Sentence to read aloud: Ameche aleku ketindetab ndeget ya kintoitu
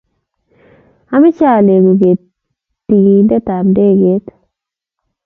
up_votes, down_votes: 1, 2